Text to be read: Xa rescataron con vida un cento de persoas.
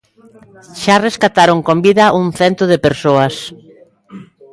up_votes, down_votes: 2, 0